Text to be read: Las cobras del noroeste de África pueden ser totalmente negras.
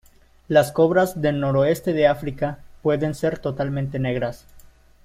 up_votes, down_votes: 2, 0